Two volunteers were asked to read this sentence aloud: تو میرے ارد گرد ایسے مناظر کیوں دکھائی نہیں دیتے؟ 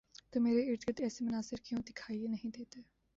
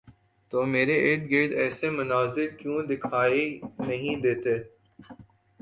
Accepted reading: second